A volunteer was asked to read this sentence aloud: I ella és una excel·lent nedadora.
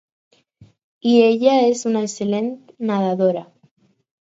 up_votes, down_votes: 4, 0